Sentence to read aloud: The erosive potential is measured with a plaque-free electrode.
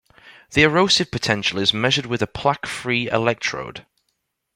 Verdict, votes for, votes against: accepted, 2, 0